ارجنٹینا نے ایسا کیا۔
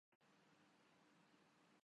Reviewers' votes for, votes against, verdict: 0, 2, rejected